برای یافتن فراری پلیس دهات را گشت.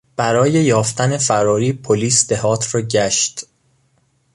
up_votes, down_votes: 2, 0